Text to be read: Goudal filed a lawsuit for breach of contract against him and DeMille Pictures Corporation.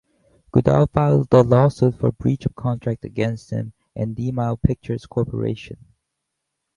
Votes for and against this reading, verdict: 0, 4, rejected